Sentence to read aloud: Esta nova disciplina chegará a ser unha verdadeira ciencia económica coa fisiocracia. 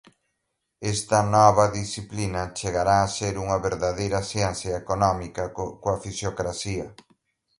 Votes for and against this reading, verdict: 1, 4, rejected